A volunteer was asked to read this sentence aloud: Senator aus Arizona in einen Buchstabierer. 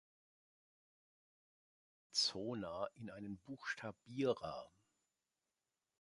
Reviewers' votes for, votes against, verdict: 1, 2, rejected